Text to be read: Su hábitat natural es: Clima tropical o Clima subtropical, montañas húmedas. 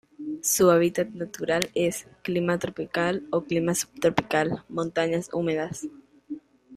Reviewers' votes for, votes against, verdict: 2, 0, accepted